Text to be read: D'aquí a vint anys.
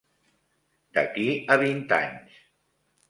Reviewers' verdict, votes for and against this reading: rejected, 0, 2